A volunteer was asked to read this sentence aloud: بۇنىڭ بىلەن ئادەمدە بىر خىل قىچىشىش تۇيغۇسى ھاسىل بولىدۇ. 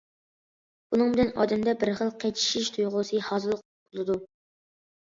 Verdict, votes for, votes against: accepted, 2, 0